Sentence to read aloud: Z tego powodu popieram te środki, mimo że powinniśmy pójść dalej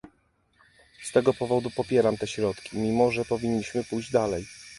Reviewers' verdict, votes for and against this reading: rejected, 0, 2